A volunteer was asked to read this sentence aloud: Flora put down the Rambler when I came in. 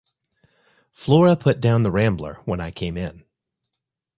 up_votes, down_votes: 2, 0